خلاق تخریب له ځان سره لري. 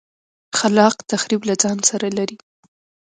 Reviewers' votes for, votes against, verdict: 2, 0, accepted